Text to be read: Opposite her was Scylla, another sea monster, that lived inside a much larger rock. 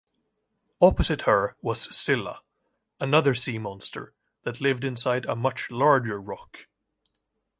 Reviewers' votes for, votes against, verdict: 2, 0, accepted